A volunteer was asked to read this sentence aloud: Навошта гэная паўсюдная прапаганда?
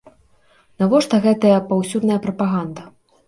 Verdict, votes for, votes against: rejected, 0, 2